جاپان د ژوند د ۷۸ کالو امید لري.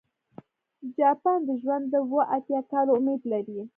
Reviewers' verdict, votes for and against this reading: rejected, 0, 2